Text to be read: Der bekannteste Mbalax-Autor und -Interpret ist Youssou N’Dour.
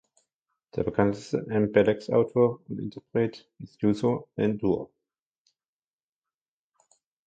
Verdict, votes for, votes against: rejected, 1, 2